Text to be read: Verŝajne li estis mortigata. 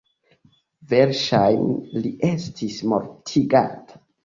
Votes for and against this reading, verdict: 3, 0, accepted